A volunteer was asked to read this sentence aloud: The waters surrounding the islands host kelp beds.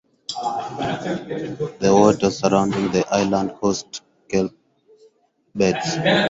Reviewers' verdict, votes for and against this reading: rejected, 2, 2